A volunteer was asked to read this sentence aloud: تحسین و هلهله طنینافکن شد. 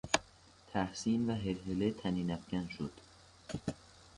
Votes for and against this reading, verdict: 2, 0, accepted